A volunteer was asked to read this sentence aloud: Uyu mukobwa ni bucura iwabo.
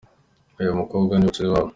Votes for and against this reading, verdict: 2, 1, accepted